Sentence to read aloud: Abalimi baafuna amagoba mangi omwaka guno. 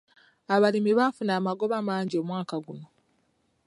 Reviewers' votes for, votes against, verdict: 2, 0, accepted